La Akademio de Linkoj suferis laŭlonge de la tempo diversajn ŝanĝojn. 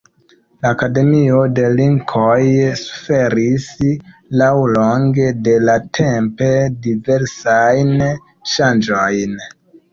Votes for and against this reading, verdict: 1, 2, rejected